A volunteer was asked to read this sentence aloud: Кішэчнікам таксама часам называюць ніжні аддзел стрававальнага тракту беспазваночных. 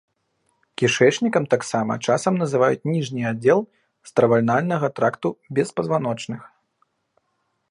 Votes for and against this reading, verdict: 1, 2, rejected